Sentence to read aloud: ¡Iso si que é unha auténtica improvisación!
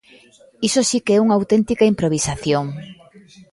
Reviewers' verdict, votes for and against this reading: accepted, 2, 0